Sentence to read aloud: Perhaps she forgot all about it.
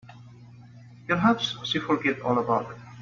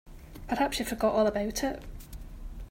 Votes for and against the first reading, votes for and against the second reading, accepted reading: 0, 2, 2, 0, second